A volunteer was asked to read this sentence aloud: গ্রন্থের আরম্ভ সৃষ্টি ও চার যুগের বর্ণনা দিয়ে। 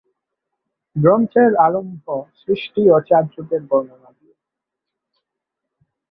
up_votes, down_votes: 0, 2